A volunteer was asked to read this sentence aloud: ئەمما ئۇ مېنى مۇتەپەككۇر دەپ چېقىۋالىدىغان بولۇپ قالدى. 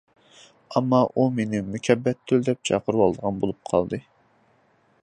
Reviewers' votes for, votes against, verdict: 0, 2, rejected